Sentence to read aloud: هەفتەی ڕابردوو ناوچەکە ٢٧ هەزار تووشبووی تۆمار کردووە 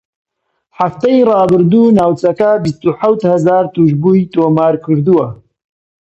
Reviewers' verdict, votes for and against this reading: rejected, 0, 2